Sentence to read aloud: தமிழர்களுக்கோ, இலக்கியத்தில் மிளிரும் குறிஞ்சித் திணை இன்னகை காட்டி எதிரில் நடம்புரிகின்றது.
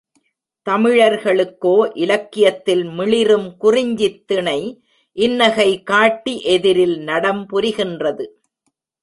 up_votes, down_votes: 1, 2